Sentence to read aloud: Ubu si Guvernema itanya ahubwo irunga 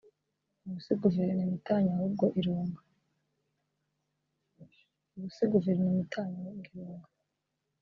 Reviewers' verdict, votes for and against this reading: rejected, 2, 3